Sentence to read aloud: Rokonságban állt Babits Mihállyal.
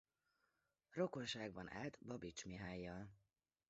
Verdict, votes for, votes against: rejected, 0, 2